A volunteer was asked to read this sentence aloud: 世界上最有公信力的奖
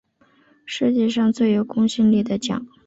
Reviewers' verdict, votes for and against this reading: accepted, 5, 0